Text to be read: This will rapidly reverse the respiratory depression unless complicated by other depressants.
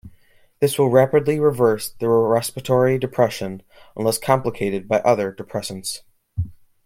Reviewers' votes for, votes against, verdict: 1, 2, rejected